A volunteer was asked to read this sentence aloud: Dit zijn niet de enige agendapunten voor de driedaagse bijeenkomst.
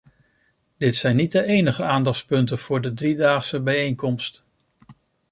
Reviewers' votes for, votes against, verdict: 1, 2, rejected